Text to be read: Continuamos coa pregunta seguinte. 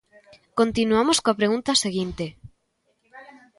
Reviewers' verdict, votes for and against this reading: rejected, 1, 2